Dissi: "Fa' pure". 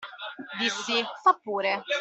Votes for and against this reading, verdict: 2, 0, accepted